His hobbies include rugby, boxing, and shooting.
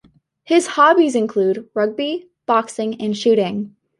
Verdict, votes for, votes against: accepted, 2, 0